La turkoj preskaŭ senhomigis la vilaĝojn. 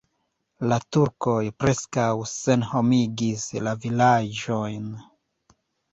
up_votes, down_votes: 1, 2